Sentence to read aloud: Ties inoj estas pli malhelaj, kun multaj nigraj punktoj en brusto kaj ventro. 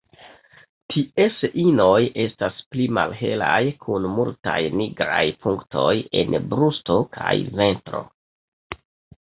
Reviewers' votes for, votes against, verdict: 1, 2, rejected